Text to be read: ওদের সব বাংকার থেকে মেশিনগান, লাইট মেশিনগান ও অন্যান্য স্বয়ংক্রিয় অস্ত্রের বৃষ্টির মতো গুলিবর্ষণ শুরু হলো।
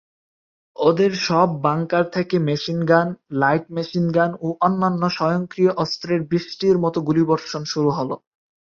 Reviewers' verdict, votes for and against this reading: accepted, 4, 0